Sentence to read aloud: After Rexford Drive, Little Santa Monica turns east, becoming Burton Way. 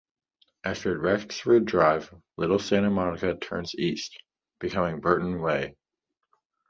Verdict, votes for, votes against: rejected, 1, 2